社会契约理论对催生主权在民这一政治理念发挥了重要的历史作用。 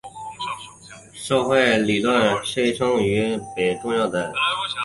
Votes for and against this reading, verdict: 0, 2, rejected